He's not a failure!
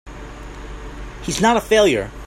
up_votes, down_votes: 2, 0